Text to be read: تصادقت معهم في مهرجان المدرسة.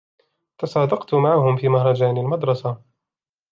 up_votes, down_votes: 2, 1